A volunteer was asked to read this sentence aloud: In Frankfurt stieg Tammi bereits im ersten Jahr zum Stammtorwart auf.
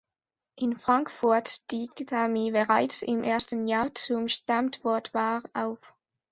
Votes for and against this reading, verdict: 0, 2, rejected